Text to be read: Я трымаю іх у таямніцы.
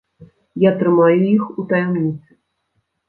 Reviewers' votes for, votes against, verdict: 1, 2, rejected